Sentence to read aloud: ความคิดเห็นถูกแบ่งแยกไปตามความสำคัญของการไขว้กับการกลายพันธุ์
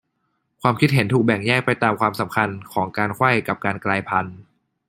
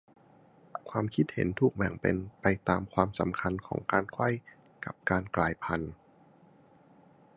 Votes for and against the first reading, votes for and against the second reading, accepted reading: 2, 0, 0, 2, first